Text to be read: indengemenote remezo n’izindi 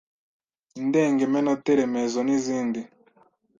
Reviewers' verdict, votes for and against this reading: rejected, 1, 2